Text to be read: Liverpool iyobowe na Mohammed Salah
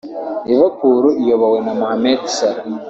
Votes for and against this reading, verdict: 2, 0, accepted